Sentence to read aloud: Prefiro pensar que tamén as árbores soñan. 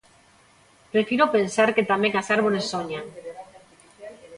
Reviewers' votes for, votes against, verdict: 0, 2, rejected